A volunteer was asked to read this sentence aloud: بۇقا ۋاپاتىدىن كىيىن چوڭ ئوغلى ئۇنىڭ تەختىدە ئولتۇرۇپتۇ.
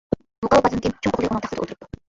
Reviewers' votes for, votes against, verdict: 0, 2, rejected